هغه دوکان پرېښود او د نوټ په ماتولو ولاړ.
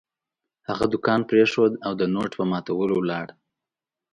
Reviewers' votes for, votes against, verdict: 2, 0, accepted